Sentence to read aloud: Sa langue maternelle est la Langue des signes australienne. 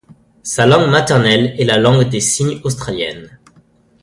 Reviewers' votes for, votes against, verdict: 2, 0, accepted